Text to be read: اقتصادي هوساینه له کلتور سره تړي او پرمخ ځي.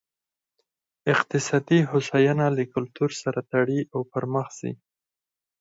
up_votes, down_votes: 4, 2